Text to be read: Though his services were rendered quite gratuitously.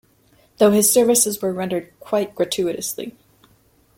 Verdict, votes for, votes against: accepted, 2, 0